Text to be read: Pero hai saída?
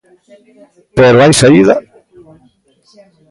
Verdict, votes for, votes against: rejected, 0, 2